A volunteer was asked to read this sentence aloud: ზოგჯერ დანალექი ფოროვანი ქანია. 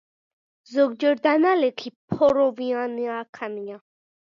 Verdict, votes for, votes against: rejected, 1, 2